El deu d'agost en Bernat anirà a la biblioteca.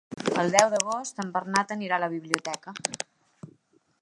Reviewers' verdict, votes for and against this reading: accepted, 2, 0